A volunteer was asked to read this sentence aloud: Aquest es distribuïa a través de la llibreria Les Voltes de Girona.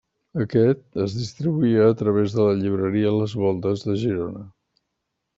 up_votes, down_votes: 2, 0